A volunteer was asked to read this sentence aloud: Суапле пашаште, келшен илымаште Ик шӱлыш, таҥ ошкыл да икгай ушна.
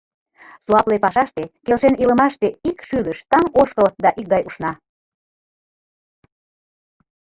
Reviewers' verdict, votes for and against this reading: accepted, 2, 1